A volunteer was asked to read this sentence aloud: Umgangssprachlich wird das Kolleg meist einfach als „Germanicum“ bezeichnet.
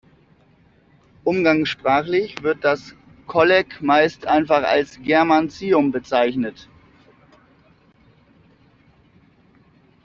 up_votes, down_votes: 0, 2